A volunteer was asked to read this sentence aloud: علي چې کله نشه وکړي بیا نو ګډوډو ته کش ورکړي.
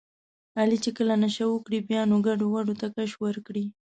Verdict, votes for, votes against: accepted, 2, 0